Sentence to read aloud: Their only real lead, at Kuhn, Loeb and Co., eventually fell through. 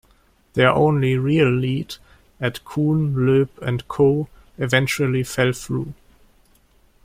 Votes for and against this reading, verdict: 2, 0, accepted